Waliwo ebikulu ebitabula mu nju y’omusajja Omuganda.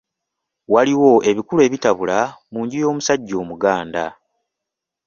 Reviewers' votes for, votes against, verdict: 2, 0, accepted